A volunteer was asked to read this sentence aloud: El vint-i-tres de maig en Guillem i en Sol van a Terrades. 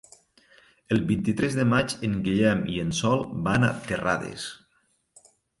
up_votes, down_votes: 3, 0